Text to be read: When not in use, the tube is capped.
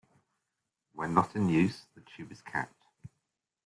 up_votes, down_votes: 2, 0